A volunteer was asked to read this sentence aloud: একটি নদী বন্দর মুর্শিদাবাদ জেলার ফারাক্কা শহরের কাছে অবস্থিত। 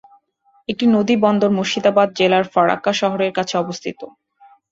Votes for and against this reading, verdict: 3, 1, accepted